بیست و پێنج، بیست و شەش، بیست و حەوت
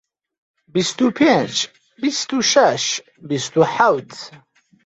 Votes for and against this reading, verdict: 7, 0, accepted